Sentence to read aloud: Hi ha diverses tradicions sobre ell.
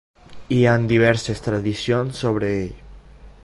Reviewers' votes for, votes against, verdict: 0, 2, rejected